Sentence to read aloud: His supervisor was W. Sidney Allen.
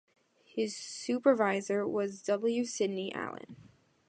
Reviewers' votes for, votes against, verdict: 2, 0, accepted